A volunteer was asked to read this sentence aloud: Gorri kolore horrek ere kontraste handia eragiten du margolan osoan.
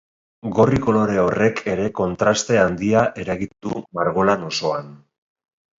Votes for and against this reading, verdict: 0, 2, rejected